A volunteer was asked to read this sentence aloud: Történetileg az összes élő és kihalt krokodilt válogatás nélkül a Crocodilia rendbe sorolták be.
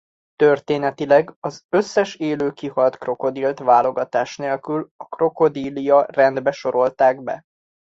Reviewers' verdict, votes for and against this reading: rejected, 1, 2